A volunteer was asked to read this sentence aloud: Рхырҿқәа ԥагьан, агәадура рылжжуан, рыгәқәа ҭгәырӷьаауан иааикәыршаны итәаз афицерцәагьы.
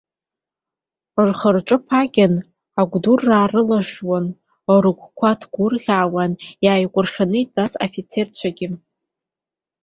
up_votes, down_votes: 2, 1